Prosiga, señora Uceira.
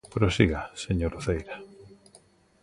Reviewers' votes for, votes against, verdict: 2, 0, accepted